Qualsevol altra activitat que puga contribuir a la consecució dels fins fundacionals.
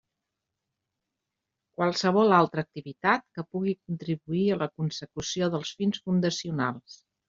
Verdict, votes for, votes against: rejected, 1, 2